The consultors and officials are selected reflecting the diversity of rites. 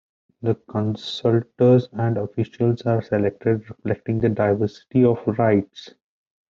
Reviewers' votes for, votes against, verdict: 2, 0, accepted